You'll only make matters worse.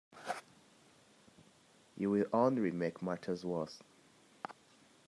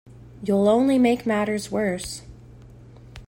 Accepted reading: second